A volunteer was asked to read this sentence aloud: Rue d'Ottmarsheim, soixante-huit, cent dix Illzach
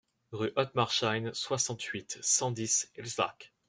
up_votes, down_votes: 1, 2